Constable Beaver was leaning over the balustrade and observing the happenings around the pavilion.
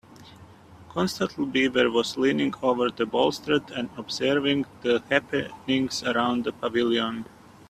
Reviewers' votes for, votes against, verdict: 0, 2, rejected